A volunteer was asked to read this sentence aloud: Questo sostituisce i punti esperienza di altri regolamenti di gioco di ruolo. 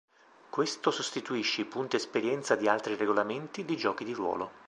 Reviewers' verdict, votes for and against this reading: rejected, 0, 2